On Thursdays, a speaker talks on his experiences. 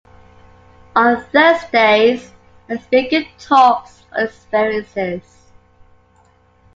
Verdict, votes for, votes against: rejected, 0, 2